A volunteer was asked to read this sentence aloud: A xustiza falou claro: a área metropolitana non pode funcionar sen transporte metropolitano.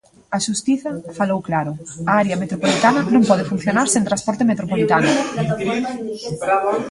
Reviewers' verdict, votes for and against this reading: rejected, 0, 2